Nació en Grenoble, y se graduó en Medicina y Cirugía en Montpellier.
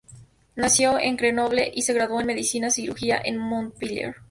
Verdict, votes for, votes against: rejected, 0, 2